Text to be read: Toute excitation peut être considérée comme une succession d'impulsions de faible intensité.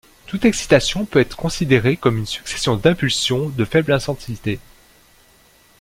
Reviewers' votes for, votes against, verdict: 1, 2, rejected